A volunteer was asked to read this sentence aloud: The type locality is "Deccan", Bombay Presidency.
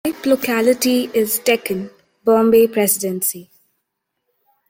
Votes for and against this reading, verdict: 0, 2, rejected